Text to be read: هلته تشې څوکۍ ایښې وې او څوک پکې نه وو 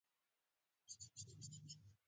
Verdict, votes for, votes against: rejected, 1, 2